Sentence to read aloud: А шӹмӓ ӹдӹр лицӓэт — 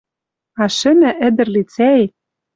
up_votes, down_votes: 2, 0